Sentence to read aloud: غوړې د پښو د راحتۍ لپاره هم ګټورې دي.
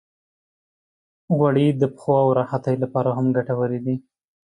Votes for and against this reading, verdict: 2, 0, accepted